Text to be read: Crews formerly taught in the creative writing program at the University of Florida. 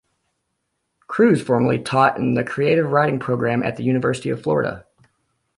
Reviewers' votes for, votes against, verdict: 2, 0, accepted